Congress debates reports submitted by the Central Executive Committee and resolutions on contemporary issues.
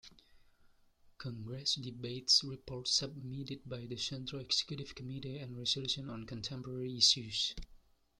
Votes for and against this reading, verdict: 0, 2, rejected